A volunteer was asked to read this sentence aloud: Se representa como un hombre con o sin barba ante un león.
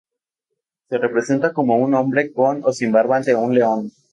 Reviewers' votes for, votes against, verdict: 2, 0, accepted